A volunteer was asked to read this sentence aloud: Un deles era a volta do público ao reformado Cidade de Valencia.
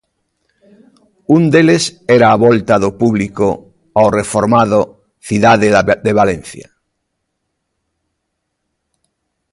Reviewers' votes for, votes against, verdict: 0, 2, rejected